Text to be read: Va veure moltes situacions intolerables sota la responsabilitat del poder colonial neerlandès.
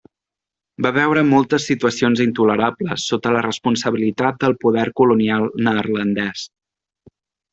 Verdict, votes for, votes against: accepted, 2, 0